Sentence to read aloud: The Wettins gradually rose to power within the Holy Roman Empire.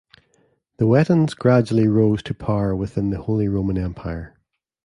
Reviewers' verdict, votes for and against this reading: rejected, 1, 2